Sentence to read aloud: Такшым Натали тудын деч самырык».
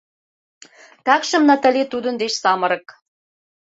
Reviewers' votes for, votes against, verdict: 2, 0, accepted